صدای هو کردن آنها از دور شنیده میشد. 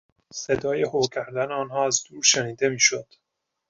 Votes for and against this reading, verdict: 2, 0, accepted